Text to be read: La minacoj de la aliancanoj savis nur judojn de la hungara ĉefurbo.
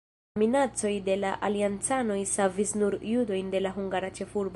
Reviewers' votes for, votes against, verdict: 0, 2, rejected